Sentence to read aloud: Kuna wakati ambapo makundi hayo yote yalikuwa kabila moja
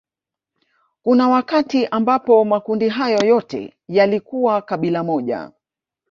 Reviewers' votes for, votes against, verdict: 2, 0, accepted